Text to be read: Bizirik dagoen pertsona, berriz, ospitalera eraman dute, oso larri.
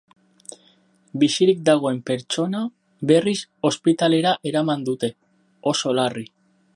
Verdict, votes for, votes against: accepted, 4, 0